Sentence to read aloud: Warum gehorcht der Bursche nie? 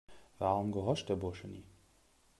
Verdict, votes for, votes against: rejected, 0, 2